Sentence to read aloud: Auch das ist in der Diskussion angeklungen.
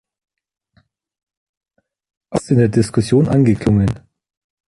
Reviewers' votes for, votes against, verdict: 1, 2, rejected